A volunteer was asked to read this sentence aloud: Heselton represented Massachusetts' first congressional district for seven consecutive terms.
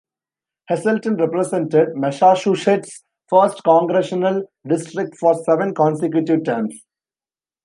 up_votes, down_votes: 0, 2